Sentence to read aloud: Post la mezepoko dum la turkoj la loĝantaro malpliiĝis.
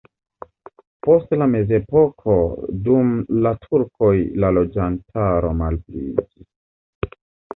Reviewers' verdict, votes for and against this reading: rejected, 0, 2